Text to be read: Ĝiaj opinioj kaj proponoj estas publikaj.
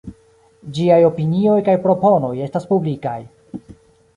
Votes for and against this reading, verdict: 2, 0, accepted